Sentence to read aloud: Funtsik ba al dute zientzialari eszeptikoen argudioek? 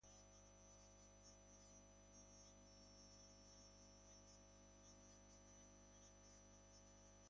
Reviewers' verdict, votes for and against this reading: rejected, 0, 2